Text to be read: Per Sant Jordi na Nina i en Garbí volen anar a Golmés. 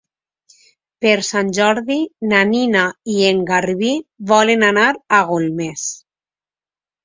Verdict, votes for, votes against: accepted, 2, 0